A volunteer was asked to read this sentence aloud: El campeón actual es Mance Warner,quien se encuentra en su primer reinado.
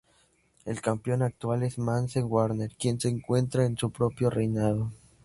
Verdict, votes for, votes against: rejected, 0, 2